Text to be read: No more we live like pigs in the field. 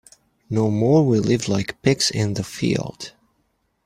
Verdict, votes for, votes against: accepted, 2, 0